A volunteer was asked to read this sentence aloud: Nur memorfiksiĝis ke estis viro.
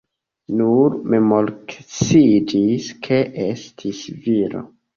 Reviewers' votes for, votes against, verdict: 0, 2, rejected